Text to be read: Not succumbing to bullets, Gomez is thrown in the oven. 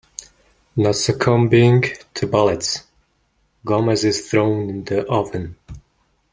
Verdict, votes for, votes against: rejected, 1, 2